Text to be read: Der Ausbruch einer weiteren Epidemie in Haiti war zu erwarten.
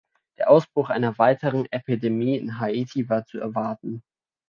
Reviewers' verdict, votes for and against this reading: accepted, 2, 0